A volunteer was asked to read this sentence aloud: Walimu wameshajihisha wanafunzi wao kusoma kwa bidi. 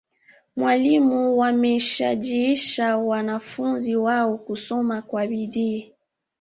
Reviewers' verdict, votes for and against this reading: rejected, 0, 2